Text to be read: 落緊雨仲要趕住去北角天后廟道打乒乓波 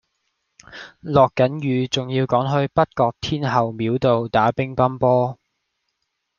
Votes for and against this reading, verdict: 0, 2, rejected